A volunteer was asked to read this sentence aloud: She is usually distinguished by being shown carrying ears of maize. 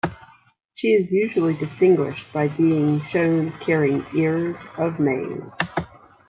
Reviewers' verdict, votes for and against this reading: rejected, 1, 2